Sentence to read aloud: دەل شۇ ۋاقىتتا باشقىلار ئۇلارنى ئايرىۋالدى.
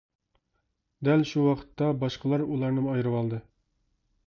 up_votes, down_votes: 1, 2